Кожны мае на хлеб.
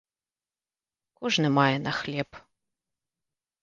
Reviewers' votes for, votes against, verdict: 2, 0, accepted